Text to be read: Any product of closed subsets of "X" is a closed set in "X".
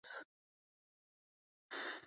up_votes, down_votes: 0, 2